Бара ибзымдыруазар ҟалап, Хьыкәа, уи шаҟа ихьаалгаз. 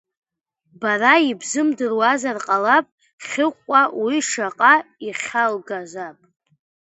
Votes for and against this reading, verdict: 0, 2, rejected